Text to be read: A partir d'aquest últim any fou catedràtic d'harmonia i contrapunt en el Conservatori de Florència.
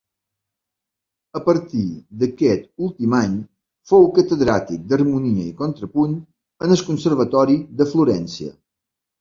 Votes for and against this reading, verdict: 1, 3, rejected